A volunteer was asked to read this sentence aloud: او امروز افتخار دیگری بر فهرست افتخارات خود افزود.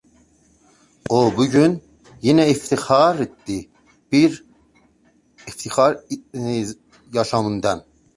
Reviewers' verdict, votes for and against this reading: rejected, 0, 3